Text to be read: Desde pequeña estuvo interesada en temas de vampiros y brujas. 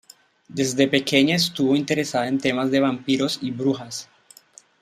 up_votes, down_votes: 2, 0